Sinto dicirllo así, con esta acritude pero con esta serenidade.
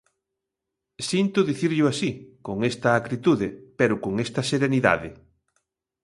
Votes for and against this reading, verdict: 2, 0, accepted